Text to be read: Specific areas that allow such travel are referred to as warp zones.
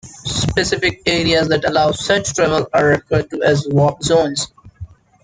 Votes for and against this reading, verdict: 1, 2, rejected